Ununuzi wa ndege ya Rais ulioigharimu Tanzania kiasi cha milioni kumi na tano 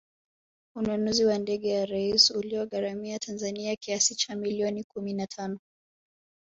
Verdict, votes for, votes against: rejected, 0, 2